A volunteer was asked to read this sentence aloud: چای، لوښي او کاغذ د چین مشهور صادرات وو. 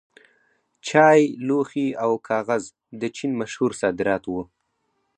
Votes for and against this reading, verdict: 4, 0, accepted